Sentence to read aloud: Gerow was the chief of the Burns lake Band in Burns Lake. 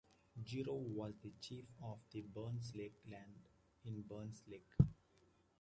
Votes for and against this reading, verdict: 1, 2, rejected